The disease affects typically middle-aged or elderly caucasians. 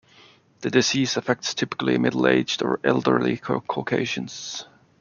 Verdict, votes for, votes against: accepted, 2, 0